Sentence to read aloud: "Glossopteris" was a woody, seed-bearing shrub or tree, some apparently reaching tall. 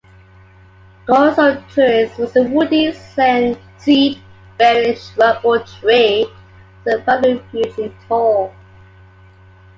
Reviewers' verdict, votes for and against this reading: rejected, 0, 2